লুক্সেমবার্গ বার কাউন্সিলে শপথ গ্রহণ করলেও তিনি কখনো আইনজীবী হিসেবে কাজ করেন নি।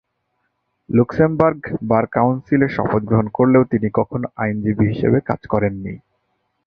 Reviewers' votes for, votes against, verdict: 8, 2, accepted